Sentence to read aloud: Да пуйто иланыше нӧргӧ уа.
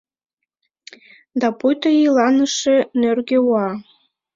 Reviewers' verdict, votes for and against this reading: accepted, 2, 0